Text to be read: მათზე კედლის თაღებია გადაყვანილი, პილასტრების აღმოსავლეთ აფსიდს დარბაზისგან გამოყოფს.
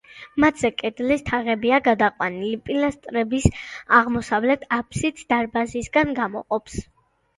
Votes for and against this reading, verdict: 2, 0, accepted